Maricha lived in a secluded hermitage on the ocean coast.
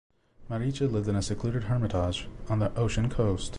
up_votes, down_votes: 2, 0